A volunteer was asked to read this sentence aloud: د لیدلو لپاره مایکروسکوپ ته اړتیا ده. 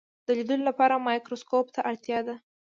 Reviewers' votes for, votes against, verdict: 2, 0, accepted